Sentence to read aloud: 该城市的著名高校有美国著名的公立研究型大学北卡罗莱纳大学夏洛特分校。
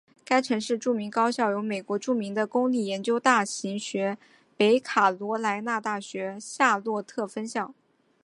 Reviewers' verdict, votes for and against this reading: rejected, 1, 2